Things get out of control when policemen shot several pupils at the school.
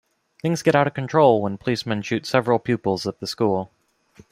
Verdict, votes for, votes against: rejected, 1, 2